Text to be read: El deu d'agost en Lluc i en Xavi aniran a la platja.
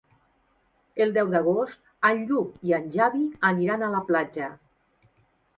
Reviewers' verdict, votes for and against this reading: rejected, 0, 2